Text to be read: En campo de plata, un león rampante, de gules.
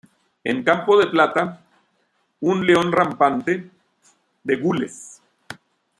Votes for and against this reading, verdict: 2, 0, accepted